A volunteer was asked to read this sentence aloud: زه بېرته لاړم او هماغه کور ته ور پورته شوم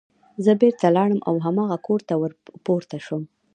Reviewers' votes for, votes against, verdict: 1, 2, rejected